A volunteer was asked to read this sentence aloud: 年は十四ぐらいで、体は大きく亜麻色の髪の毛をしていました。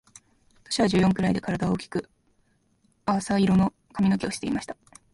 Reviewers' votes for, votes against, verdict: 1, 2, rejected